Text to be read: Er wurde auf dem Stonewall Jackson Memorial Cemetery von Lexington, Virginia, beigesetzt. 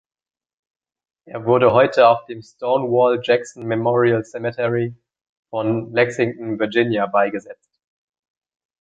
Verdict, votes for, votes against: rejected, 0, 3